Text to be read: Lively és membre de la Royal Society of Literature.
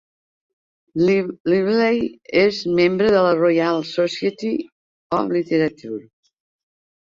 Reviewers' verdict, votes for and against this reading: rejected, 0, 2